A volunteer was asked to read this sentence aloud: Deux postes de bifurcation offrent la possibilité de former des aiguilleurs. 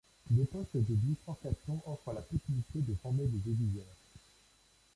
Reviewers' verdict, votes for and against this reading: rejected, 1, 2